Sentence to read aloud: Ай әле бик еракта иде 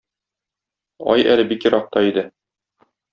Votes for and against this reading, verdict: 2, 0, accepted